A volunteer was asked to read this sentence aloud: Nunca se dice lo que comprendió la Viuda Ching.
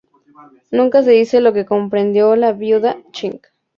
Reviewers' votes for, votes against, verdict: 0, 2, rejected